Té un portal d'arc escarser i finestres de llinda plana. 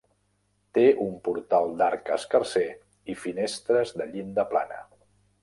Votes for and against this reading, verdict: 3, 0, accepted